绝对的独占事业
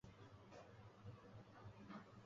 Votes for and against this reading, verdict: 1, 2, rejected